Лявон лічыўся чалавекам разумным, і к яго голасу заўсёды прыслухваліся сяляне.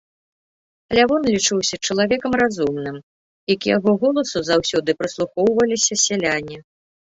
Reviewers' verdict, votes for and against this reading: accepted, 2, 0